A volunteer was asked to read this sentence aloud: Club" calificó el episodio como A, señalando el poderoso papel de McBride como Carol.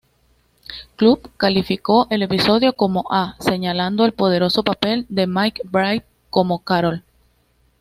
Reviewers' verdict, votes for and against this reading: accepted, 2, 0